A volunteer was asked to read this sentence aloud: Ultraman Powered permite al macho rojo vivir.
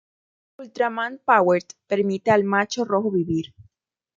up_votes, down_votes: 2, 0